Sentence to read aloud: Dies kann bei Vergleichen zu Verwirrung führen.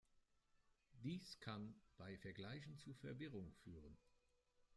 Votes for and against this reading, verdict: 2, 1, accepted